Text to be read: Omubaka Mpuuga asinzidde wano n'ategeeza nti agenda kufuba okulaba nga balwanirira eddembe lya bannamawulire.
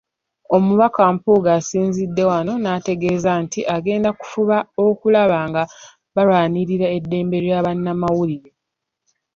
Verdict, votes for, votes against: accepted, 2, 0